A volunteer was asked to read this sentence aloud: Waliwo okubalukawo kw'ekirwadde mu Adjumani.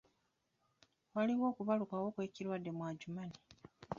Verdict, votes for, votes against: rejected, 1, 2